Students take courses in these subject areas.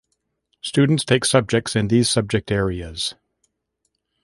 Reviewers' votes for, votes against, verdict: 1, 2, rejected